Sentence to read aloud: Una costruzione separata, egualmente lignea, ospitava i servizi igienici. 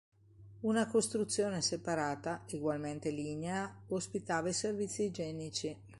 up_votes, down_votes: 2, 0